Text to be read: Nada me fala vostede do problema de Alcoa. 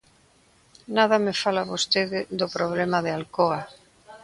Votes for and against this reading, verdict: 2, 0, accepted